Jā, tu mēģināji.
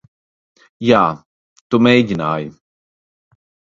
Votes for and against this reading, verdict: 2, 0, accepted